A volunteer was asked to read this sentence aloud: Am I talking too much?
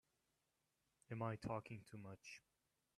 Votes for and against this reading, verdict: 1, 2, rejected